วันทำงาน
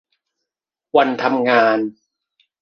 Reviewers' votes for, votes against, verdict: 2, 0, accepted